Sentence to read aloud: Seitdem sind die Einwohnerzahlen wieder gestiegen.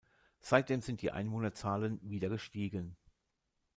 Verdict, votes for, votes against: rejected, 1, 2